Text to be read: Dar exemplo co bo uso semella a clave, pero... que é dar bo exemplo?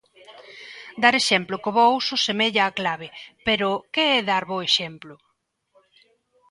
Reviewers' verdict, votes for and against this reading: accepted, 2, 0